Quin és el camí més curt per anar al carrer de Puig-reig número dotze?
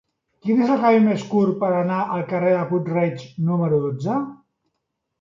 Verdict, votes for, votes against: accepted, 2, 1